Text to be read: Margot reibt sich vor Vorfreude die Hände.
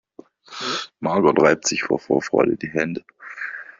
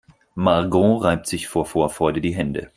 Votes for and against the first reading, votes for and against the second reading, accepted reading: 2, 0, 2, 4, first